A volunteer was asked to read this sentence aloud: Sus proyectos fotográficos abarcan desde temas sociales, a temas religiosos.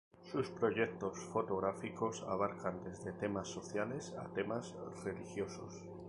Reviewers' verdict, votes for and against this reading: accepted, 2, 0